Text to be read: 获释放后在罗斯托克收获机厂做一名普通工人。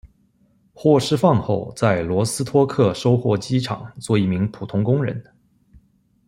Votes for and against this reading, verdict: 2, 0, accepted